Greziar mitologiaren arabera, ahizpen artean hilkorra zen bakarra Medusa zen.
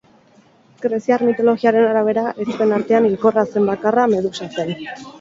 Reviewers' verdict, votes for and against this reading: rejected, 2, 2